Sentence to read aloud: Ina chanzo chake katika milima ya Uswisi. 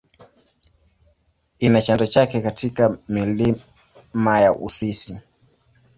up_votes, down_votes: 1, 2